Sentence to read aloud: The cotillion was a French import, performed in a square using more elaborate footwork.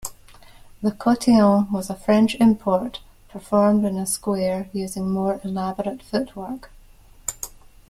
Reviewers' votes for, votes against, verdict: 1, 2, rejected